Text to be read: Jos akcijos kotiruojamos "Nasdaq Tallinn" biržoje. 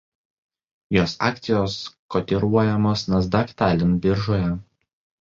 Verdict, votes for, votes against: accepted, 2, 0